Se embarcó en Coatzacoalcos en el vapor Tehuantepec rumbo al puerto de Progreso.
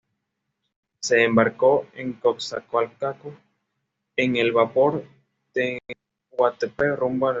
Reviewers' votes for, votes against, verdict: 1, 2, rejected